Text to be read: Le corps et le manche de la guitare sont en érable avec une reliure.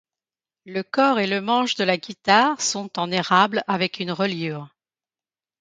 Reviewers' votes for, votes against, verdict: 2, 0, accepted